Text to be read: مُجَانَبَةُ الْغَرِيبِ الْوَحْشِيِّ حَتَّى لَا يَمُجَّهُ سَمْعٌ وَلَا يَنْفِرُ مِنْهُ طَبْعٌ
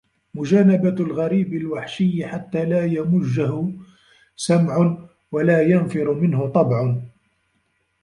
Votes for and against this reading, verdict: 2, 0, accepted